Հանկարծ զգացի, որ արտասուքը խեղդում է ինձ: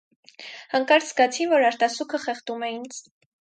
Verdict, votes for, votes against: accepted, 4, 0